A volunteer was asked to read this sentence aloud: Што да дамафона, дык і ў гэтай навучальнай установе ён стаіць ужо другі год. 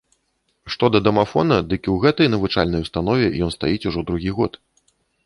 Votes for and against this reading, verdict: 2, 0, accepted